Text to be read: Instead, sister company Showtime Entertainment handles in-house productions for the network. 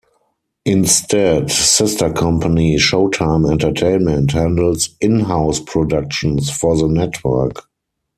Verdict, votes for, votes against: rejected, 0, 4